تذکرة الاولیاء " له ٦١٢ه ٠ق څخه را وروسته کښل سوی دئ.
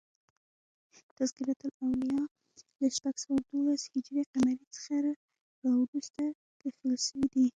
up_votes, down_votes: 0, 2